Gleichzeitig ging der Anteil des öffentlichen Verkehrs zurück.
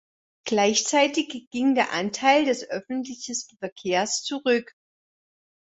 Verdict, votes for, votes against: rejected, 1, 3